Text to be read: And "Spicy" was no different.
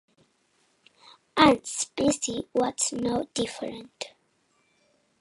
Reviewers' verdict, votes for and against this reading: rejected, 1, 2